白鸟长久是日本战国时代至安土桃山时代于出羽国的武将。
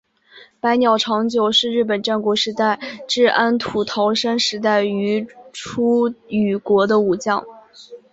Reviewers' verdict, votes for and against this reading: accepted, 6, 1